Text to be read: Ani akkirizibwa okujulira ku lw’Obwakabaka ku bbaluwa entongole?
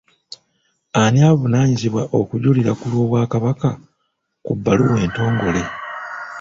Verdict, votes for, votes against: rejected, 0, 2